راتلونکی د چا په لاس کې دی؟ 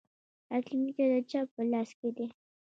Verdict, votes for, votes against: rejected, 0, 2